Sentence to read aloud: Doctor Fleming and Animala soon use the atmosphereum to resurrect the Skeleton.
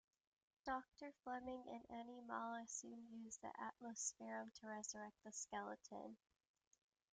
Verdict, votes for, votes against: accepted, 2, 0